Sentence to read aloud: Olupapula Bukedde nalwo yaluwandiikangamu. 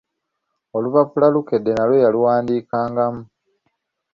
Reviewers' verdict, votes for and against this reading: rejected, 2, 3